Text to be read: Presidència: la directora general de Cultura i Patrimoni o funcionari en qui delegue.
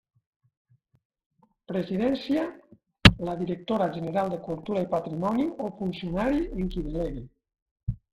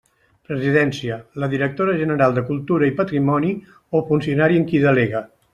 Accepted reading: second